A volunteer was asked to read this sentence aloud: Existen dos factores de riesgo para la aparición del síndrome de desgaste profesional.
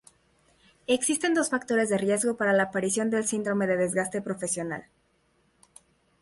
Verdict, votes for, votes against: accepted, 2, 0